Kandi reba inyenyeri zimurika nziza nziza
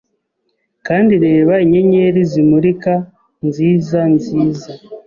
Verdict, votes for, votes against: accepted, 2, 0